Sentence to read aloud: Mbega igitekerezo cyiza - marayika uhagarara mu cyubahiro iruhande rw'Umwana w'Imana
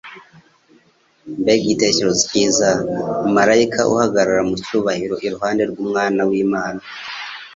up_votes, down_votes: 2, 0